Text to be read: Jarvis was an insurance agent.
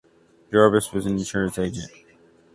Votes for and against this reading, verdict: 2, 0, accepted